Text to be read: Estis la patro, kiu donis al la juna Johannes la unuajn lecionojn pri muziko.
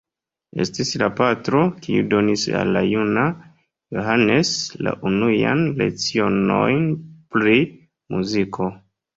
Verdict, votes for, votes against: accepted, 2, 0